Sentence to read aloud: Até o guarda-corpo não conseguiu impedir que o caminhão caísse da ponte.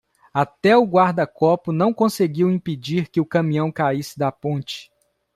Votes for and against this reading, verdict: 0, 2, rejected